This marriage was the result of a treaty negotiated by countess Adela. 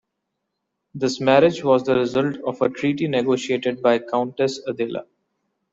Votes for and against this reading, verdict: 2, 0, accepted